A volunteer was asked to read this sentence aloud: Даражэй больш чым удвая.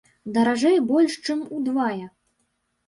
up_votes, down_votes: 1, 2